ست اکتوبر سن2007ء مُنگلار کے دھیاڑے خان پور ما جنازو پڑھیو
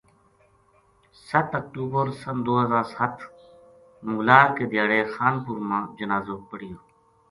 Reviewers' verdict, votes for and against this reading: rejected, 0, 2